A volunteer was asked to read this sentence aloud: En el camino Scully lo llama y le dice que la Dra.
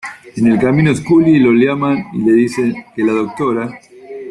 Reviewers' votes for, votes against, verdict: 0, 2, rejected